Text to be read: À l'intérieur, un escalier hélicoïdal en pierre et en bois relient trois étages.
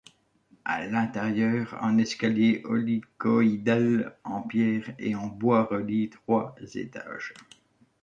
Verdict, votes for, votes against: rejected, 0, 2